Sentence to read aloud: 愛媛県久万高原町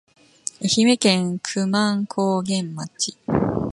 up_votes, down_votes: 0, 2